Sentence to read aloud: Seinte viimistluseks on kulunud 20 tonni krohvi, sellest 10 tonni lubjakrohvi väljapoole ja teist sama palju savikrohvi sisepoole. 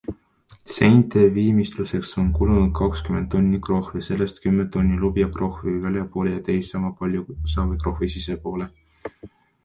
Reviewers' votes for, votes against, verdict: 0, 2, rejected